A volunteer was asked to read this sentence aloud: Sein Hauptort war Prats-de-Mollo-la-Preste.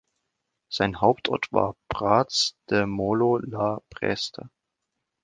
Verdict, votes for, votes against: accepted, 2, 0